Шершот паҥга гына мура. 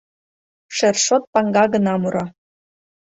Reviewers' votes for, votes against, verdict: 3, 0, accepted